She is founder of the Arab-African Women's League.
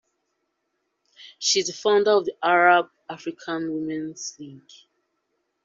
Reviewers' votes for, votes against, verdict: 2, 0, accepted